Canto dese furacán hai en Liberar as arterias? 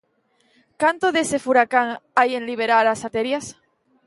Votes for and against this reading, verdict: 1, 2, rejected